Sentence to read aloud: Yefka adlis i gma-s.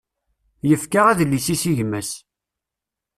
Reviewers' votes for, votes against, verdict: 0, 2, rejected